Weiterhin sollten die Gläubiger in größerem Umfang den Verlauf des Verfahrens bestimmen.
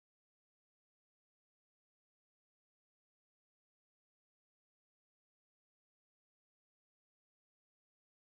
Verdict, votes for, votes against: rejected, 0, 4